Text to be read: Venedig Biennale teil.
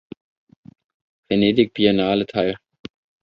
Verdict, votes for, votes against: accepted, 2, 0